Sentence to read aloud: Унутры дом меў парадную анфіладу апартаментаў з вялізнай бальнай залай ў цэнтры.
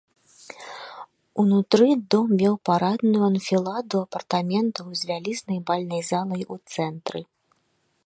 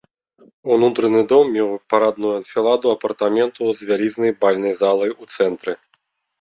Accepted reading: first